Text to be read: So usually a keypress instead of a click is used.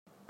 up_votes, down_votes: 0, 2